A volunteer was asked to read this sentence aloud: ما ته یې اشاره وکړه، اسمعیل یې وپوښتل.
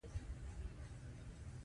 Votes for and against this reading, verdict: 2, 1, accepted